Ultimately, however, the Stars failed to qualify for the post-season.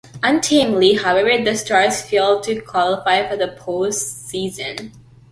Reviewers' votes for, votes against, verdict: 0, 2, rejected